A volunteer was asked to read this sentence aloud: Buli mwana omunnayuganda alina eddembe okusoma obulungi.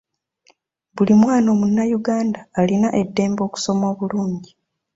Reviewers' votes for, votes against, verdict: 2, 0, accepted